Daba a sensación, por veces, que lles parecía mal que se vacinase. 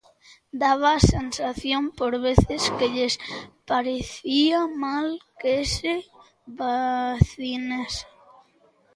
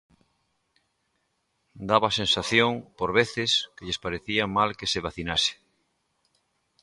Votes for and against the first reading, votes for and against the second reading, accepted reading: 1, 2, 2, 0, second